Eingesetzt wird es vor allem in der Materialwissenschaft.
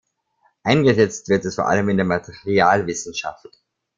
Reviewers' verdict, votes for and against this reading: rejected, 1, 2